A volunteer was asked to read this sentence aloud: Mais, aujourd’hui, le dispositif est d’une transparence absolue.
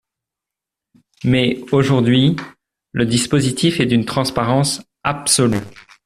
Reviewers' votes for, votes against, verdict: 2, 0, accepted